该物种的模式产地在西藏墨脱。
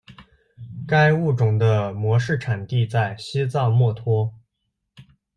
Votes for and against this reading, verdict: 2, 0, accepted